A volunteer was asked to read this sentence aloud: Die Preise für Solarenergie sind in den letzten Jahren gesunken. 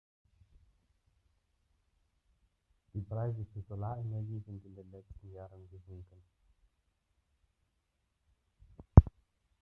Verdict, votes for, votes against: rejected, 0, 2